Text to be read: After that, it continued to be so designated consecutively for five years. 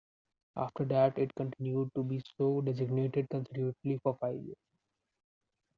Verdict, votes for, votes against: rejected, 0, 2